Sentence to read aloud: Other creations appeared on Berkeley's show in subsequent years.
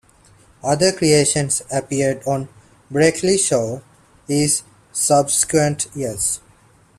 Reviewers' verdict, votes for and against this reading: rejected, 0, 2